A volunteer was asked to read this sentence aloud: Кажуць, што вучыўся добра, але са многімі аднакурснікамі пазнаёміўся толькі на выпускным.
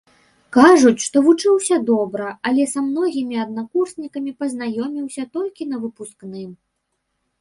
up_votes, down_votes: 2, 0